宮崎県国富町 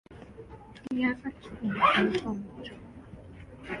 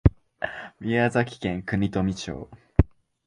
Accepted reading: second